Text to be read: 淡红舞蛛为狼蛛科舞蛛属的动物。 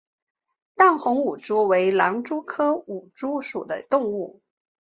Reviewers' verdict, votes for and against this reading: accepted, 2, 0